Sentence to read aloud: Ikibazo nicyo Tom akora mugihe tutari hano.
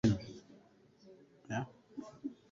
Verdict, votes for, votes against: rejected, 0, 3